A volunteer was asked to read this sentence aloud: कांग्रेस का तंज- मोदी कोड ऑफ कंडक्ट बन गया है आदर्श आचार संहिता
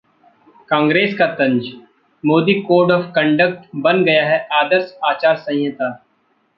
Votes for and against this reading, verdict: 1, 2, rejected